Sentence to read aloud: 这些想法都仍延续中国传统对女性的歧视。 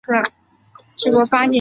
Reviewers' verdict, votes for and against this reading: rejected, 0, 2